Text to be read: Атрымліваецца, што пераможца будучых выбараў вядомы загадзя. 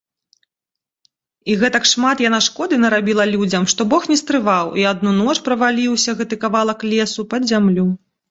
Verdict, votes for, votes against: rejected, 0, 2